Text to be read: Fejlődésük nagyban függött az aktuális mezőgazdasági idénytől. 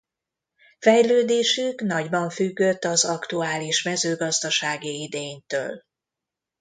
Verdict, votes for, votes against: accepted, 2, 0